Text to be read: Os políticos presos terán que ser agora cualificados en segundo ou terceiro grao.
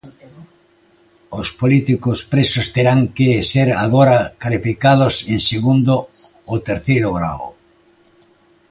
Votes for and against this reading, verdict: 0, 2, rejected